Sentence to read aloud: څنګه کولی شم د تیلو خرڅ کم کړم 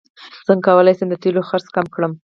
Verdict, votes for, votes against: accepted, 4, 0